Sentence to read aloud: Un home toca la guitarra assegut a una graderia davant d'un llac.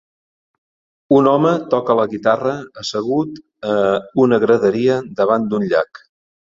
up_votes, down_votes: 2, 0